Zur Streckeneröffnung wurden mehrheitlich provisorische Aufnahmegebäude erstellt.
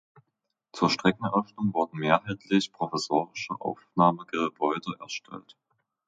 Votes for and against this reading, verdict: 0, 2, rejected